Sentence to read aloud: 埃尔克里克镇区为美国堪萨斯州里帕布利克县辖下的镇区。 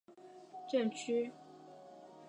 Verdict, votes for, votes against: rejected, 0, 5